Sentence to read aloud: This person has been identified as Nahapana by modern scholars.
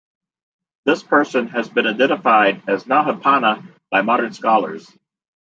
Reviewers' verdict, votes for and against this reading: accepted, 2, 1